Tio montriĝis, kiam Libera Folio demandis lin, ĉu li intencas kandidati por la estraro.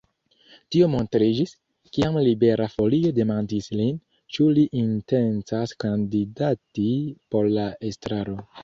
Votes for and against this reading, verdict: 2, 0, accepted